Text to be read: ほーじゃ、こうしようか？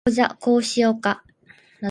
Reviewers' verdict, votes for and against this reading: accepted, 2, 1